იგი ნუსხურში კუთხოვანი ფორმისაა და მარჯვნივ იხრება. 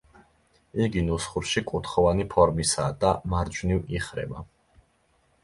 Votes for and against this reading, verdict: 2, 0, accepted